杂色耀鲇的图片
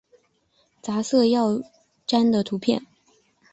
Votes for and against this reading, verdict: 6, 0, accepted